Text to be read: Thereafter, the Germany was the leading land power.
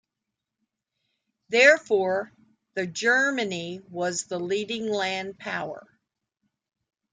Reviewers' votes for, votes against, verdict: 0, 2, rejected